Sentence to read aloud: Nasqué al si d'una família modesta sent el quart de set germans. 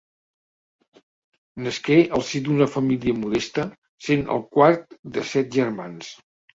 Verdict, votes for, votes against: rejected, 1, 2